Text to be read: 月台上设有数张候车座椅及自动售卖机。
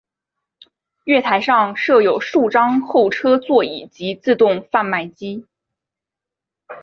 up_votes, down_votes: 2, 3